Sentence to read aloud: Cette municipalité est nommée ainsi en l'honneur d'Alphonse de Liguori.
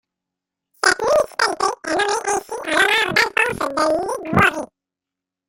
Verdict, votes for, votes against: rejected, 0, 2